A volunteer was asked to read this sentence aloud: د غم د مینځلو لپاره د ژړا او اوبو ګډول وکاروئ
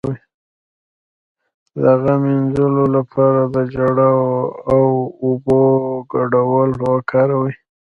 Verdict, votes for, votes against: rejected, 1, 2